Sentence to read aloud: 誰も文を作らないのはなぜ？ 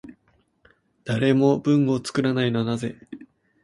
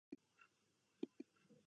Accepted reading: first